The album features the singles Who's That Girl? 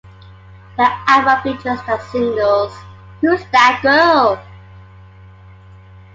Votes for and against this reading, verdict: 2, 0, accepted